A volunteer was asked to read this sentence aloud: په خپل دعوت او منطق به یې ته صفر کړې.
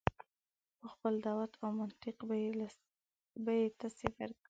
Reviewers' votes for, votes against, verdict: 0, 2, rejected